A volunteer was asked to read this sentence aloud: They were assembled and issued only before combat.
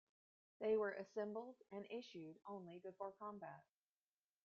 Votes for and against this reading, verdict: 0, 2, rejected